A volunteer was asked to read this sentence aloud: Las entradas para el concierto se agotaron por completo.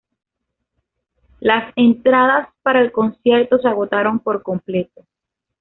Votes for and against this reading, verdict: 2, 0, accepted